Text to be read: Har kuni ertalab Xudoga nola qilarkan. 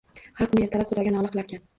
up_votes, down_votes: 0, 2